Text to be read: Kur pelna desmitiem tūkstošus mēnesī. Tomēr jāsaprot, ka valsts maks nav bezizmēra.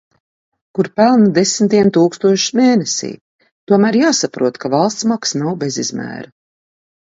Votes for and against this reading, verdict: 2, 0, accepted